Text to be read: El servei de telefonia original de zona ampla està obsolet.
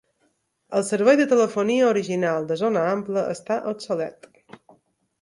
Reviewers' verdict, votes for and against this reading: accepted, 2, 0